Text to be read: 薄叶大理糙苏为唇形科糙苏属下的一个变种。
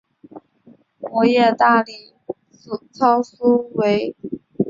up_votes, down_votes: 0, 3